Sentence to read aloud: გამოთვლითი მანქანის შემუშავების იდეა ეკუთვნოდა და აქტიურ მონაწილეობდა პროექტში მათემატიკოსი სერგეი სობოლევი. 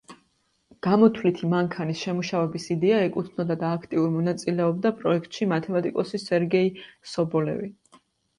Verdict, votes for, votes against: accepted, 2, 0